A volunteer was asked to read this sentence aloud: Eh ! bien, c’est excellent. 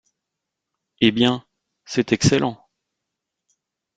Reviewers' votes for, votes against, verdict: 0, 2, rejected